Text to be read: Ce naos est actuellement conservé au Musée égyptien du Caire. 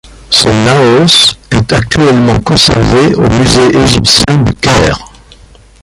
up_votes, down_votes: 1, 2